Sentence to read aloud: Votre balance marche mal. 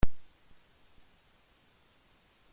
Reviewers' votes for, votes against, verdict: 0, 2, rejected